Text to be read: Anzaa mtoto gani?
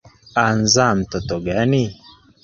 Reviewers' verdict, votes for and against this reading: rejected, 1, 2